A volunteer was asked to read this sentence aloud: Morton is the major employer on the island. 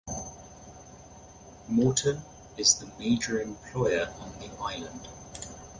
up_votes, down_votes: 0, 2